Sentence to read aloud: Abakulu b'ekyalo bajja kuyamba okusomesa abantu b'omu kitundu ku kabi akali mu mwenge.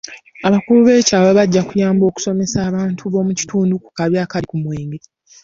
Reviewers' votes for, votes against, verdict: 2, 0, accepted